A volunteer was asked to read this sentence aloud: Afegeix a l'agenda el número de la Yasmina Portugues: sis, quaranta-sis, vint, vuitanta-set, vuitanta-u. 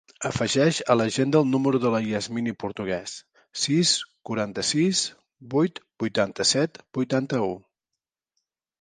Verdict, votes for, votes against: rejected, 1, 2